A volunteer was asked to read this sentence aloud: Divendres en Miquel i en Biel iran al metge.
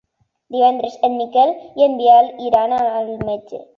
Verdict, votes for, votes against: accepted, 2, 0